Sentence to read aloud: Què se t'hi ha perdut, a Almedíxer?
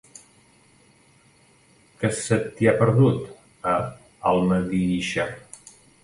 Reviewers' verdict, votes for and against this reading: rejected, 1, 2